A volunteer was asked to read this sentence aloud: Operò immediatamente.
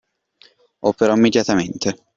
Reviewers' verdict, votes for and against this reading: accepted, 2, 1